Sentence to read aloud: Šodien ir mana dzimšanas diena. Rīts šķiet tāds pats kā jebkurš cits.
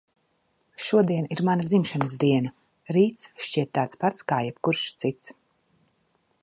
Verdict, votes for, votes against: accepted, 2, 0